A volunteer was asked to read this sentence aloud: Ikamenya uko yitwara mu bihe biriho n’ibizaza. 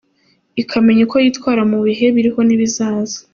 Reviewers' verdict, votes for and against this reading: accepted, 2, 0